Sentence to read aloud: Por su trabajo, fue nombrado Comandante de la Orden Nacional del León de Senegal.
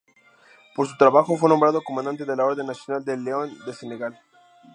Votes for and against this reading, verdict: 0, 2, rejected